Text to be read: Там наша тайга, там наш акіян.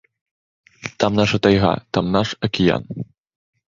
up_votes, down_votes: 2, 0